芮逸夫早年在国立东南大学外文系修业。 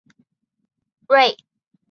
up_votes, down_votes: 2, 4